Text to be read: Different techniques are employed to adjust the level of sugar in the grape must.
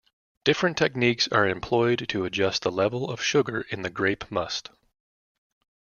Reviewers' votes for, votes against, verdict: 2, 0, accepted